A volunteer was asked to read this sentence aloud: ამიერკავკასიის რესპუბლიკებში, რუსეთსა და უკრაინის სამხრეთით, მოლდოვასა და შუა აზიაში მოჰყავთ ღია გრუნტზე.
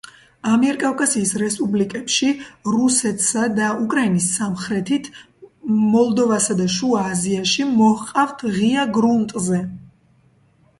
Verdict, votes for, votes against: accepted, 2, 1